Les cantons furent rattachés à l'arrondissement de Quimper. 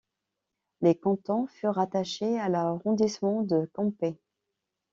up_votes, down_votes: 0, 2